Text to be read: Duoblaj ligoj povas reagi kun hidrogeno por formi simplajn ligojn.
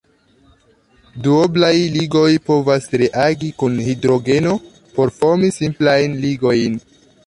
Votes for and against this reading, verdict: 1, 2, rejected